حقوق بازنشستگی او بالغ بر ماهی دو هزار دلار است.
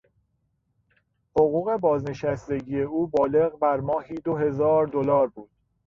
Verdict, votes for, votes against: rejected, 1, 2